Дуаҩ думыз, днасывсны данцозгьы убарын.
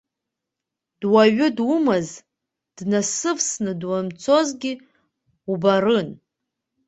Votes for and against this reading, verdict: 0, 2, rejected